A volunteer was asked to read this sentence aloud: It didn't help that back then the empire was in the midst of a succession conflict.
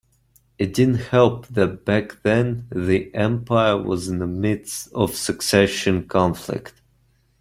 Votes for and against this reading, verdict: 2, 1, accepted